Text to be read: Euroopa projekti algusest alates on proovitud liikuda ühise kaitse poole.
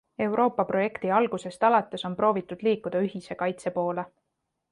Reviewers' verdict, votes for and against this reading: accepted, 3, 0